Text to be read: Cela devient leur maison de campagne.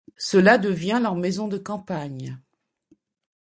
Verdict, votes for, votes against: accepted, 2, 0